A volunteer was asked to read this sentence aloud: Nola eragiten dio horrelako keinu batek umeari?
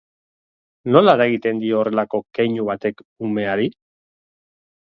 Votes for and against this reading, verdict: 3, 0, accepted